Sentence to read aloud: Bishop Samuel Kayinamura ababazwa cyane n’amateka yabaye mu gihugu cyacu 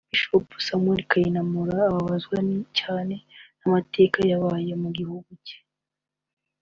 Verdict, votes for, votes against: accepted, 2, 0